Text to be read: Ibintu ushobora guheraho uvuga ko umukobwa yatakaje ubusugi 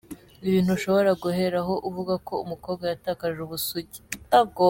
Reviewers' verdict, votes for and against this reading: rejected, 1, 2